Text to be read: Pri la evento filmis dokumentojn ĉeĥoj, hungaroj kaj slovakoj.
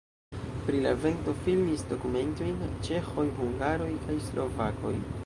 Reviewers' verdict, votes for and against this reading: rejected, 1, 2